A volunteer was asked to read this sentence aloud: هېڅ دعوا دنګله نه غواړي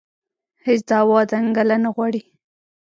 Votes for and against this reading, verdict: 2, 0, accepted